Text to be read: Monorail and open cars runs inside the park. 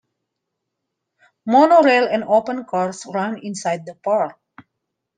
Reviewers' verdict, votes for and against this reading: accepted, 2, 0